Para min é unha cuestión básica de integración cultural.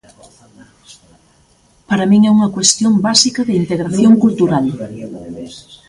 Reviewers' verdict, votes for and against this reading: rejected, 0, 2